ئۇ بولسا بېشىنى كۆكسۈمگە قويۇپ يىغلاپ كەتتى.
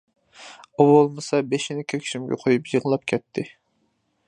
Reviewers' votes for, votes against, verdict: 2, 1, accepted